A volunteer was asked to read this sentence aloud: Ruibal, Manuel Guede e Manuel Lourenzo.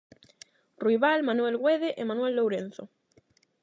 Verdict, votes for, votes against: rejected, 0, 8